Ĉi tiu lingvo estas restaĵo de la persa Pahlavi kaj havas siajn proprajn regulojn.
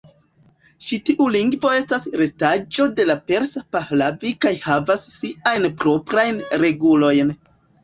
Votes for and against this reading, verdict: 0, 2, rejected